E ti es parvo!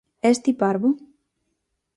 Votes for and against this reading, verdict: 0, 4, rejected